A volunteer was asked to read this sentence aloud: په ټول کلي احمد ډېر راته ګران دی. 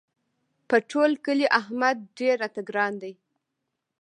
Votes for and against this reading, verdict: 1, 2, rejected